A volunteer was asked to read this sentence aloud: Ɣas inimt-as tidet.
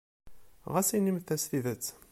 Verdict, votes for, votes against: accepted, 2, 0